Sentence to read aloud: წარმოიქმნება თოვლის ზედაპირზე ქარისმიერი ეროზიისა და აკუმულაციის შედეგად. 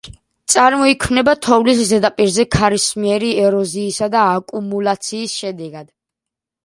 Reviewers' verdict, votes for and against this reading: accepted, 2, 0